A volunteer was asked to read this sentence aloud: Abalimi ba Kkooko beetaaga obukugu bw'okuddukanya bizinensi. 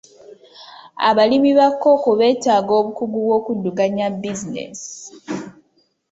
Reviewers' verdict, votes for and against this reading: rejected, 1, 2